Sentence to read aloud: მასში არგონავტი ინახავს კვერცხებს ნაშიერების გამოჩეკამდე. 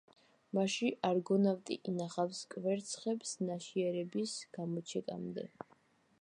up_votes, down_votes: 2, 0